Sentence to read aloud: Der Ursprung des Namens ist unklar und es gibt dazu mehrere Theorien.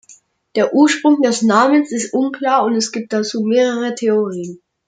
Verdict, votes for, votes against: accepted, 2, 0